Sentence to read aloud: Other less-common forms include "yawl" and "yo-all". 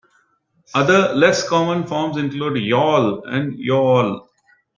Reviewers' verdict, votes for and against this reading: accepted, 2, 0